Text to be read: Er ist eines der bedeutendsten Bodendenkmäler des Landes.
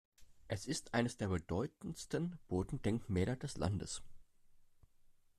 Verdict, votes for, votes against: rejected, 1, 2